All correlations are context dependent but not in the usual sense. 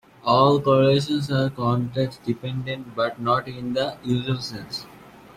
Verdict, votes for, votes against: rejected, 1, 2